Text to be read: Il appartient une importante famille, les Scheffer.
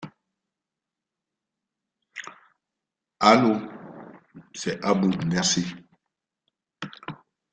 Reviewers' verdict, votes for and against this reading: rejected, 0, 2